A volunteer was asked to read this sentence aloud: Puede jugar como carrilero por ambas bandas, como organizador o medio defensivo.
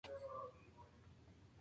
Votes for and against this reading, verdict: 0, 2, rejected